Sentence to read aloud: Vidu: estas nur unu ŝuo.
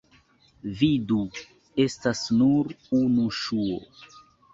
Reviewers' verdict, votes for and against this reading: accepted, 3, 1